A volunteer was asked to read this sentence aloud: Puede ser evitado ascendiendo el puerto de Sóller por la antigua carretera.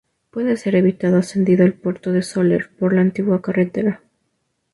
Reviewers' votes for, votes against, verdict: 0, 2, rejected